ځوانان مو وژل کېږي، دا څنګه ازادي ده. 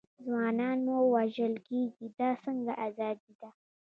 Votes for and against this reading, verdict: 1, 2, rejected